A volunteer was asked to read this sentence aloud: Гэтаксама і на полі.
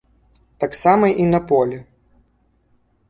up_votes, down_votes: 0, 2